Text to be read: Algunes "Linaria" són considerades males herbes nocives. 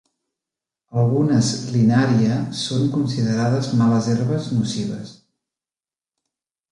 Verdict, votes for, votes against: accepted, 2, 0